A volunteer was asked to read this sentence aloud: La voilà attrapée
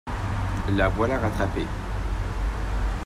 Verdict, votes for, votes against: rejected, 0, 2